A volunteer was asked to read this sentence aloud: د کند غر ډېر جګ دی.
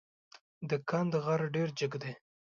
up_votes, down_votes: 2, 0